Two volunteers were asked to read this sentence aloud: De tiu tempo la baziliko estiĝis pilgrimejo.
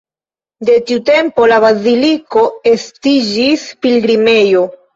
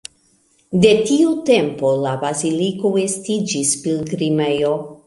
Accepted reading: second